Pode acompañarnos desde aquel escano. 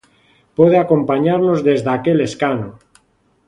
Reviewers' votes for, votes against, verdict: 2, 0, accepted